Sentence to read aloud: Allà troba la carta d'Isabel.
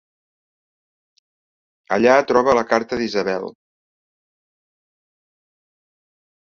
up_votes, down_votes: 3, 0